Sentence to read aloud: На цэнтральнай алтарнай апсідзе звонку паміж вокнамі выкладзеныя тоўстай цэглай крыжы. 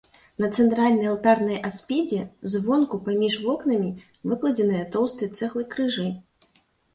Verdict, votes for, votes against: rejected, 0, 2